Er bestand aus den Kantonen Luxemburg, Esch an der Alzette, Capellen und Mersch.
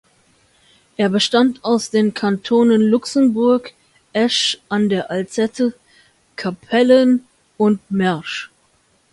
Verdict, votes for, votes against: accepted, 2, 0